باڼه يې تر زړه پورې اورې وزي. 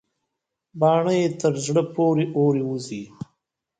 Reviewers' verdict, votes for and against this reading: rejected, 1, 2